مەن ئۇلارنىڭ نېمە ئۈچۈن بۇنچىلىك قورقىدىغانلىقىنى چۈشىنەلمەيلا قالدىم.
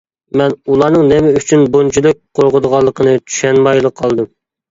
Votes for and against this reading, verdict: 0, 2, rejected